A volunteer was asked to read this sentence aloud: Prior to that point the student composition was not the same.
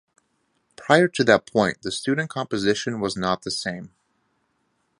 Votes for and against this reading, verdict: 2, 0, accepted